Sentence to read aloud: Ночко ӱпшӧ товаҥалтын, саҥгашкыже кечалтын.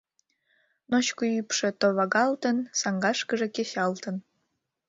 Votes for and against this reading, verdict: 1, 2, rejected